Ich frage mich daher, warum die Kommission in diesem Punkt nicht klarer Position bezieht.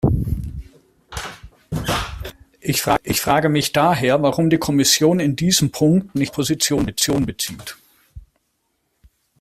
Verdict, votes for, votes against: rejected, 0, 2